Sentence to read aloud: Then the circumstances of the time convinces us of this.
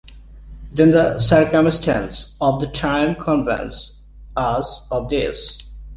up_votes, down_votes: 0, 2